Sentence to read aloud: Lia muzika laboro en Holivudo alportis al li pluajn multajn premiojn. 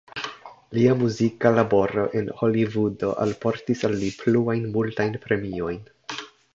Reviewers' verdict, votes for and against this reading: accepted, 2, 0